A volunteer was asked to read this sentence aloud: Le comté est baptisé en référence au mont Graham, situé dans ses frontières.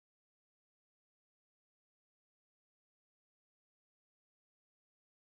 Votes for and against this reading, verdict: 0, 2, rejected